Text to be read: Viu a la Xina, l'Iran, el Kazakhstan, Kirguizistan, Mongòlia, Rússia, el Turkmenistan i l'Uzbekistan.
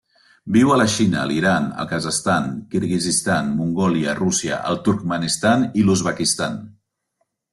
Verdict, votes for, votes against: rejected, 0, 2